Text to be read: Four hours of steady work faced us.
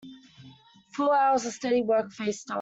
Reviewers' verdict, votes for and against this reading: rejected, 0, 2